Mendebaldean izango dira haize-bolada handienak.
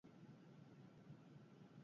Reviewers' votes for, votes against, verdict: 0, 4, rejected